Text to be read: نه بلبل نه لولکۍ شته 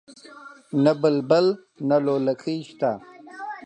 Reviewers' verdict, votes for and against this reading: accepted, 4, 0